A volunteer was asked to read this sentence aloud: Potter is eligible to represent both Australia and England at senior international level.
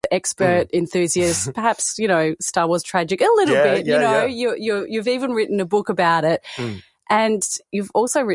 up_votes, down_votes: 0, 4